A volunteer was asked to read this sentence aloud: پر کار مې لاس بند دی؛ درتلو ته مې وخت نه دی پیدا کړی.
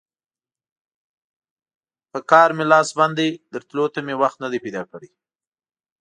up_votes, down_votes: 2, 0